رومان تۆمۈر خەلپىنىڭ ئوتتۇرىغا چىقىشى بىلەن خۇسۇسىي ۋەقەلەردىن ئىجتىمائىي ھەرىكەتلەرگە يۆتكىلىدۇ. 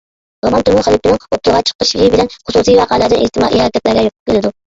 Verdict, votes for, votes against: rejected, 0, 2